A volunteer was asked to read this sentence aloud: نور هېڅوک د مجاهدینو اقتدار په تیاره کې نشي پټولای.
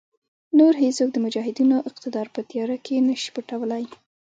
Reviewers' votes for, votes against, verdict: 1, 2, rejected